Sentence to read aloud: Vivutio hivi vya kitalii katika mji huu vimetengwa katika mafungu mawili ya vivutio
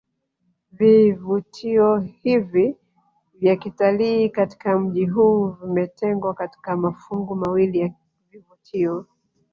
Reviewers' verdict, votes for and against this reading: accepted, 4, 3